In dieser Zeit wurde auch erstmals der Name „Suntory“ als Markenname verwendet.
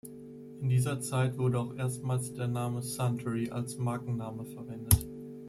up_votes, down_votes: 2, 0